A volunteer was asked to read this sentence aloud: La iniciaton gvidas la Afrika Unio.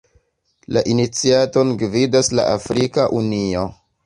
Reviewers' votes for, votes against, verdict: 2, 0, accepted